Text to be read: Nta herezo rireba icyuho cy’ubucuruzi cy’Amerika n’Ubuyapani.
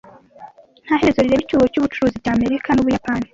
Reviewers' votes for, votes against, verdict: 2, 1, accepted